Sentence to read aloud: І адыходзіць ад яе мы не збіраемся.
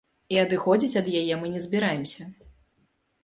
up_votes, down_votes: 2, 0